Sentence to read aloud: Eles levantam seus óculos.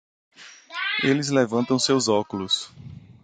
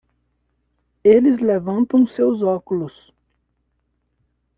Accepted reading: second